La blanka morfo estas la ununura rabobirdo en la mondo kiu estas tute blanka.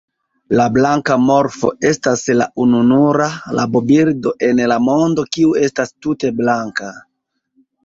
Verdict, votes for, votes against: accepted, 3, 0